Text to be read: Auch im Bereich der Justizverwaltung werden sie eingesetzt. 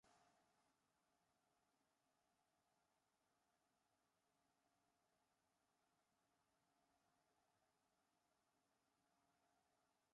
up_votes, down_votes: 0, 2